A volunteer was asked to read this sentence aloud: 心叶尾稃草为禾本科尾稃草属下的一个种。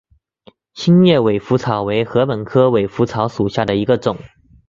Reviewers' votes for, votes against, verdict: 2, 1, accepted